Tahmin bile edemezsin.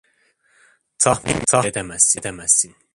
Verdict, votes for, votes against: rejected, 0, 2